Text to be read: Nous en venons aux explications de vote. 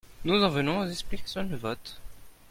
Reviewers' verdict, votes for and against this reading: rejected, 1, 2